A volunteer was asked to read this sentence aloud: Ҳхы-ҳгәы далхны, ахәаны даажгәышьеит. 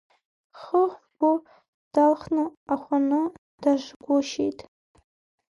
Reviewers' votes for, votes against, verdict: 2, 0, accepted